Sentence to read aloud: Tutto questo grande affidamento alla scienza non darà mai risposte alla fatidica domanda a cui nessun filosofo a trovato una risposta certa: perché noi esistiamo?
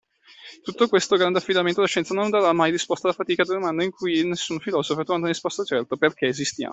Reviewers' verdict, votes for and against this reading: rejected, 0, 2